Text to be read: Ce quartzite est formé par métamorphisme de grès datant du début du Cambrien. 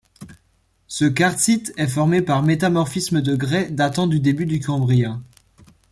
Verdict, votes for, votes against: rejected, 0, 2